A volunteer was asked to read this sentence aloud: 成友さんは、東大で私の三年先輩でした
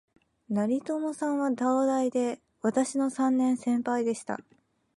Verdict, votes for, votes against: accepted, 3, 0